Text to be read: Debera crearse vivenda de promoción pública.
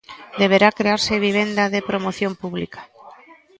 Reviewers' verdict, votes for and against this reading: rejected, 1, 2